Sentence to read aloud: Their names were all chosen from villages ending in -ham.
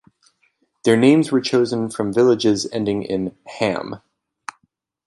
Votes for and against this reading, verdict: 1, 2, rejected